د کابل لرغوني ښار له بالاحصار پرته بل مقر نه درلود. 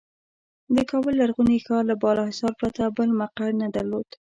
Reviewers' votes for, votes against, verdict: 2, 0, accepted